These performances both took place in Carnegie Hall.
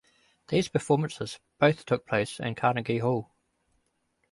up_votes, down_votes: 2, 0